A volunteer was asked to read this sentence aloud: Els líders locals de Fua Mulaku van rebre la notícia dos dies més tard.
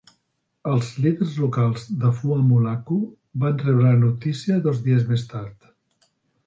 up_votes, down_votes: 3, 0